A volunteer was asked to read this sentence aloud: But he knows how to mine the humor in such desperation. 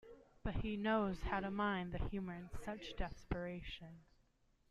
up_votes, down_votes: 2, 0